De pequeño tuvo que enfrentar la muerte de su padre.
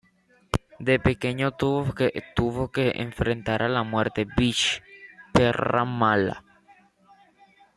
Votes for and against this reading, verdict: 0, 2, rejected